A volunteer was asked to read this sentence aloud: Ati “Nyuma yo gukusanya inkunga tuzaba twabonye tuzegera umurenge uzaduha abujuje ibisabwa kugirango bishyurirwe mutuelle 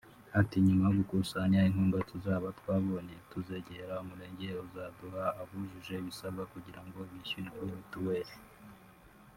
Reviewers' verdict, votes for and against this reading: rejected, 0, 2